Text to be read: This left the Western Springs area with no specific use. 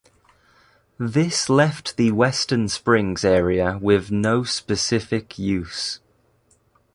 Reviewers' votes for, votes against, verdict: 2, 0, accepted